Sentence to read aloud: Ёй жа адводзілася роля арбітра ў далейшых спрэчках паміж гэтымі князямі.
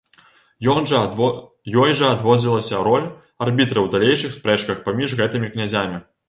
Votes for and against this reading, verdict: 1, 2, rejected